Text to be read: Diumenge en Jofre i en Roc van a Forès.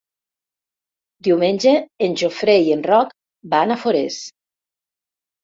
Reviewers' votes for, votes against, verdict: 0, 3, rejected